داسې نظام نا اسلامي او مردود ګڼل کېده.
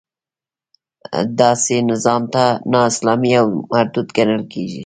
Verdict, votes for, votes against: rejected, 0, 2